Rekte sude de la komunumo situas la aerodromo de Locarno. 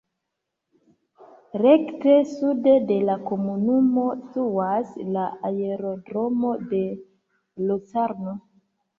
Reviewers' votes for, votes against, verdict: 0, 2, rejected